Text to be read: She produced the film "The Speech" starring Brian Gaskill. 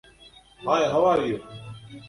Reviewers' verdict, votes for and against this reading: rejected, 0, 2